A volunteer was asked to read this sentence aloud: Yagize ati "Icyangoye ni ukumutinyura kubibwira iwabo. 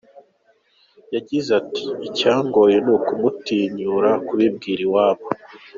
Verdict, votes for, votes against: accepted, 2, 0